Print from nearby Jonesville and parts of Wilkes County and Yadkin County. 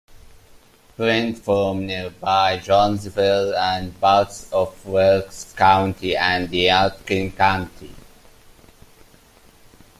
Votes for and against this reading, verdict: 2, 1, accepted